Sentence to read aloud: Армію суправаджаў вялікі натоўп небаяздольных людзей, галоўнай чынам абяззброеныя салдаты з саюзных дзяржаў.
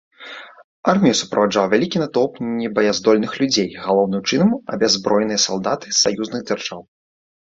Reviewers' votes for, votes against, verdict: 2, 0, accepted